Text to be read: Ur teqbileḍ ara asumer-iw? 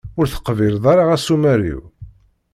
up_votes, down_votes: 2, 0